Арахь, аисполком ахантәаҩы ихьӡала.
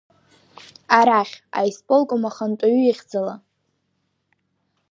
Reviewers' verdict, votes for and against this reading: rejected, 1, 2